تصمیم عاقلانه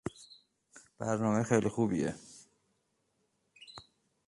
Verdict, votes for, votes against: rejected, 0, 2